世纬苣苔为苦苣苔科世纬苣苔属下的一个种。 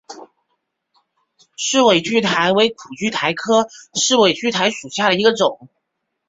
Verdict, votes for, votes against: accepted, 2, 0